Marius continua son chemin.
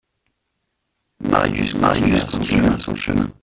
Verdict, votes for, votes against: rejected, 0, 2